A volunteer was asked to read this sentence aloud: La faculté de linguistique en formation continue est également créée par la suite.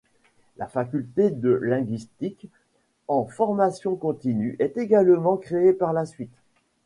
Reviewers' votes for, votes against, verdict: 0, 2, rejected